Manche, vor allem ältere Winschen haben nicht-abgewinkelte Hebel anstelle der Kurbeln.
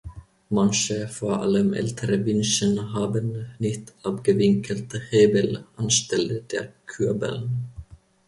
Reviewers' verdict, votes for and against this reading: rejected, 0, 3